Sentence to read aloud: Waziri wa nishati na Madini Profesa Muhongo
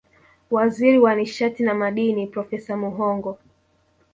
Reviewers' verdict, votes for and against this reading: rejected, 0, 2